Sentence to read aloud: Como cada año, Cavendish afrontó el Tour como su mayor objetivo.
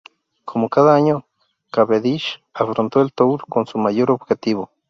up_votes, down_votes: 0, 2